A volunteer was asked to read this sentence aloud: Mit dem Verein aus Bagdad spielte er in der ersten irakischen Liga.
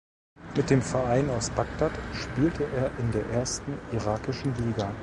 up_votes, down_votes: 2, 0